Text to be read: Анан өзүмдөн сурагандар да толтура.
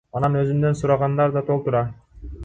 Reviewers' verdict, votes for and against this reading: rejected, 1, 2